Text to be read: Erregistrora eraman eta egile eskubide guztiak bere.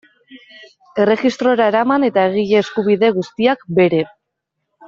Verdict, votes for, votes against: accepted, 2, 0